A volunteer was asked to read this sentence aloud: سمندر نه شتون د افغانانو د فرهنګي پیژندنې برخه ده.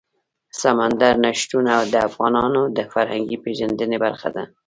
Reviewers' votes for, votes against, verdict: 2, 0, accepted